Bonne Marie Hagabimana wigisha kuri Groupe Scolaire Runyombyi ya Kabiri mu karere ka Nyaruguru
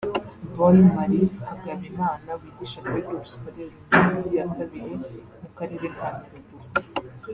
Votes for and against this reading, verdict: 1, 2, rejected